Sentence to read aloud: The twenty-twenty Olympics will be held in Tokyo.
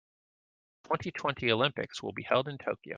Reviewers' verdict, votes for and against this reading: rejected, 1, 2